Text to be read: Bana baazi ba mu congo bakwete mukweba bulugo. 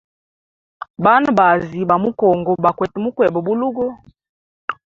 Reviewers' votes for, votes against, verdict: 2, 0, accepted